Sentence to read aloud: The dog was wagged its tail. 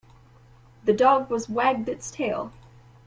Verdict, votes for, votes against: accepted, 2, 0